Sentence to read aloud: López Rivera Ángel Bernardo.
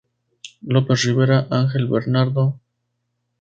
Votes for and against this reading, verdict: 2, 0, accepted